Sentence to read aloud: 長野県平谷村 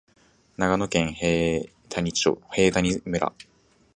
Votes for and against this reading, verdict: 0, 2, rejected